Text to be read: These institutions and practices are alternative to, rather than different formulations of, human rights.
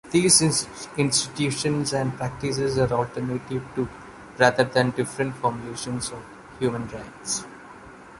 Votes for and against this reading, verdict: 0, 2, rejected